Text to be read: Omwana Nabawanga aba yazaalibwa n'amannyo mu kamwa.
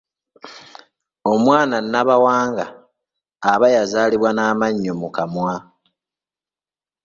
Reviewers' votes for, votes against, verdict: 2, 0, accepted